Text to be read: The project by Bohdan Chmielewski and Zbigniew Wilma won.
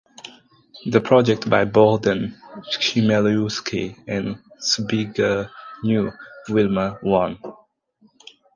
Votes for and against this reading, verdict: 2, 4, rejected